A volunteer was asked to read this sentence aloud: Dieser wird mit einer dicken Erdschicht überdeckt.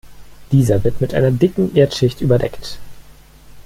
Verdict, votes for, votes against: accepted, 2, 0